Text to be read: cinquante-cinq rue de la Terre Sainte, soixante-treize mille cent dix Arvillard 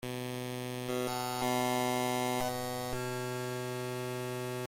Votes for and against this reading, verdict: 0, 2, rejected